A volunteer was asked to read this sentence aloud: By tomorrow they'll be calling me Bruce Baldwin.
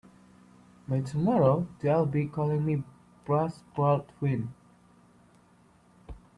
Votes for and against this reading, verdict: 2, 4, rejected